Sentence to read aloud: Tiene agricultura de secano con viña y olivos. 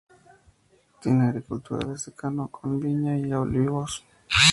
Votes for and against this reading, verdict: 2, 0, accepted